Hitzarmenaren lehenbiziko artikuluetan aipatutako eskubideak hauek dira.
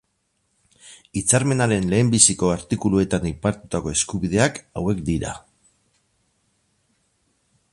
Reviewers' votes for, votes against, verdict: 4, 0, accepted